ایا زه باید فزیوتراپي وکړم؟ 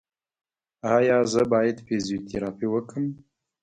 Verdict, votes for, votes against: rejected, 0, 2